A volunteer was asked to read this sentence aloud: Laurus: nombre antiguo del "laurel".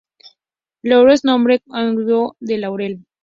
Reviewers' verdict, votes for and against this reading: rejected, 0, 2